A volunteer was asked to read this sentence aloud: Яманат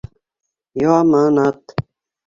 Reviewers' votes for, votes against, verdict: 2, 0, accepted